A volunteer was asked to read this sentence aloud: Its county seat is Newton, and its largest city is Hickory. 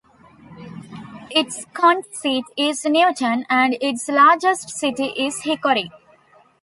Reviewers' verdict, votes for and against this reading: rejected, 0, 2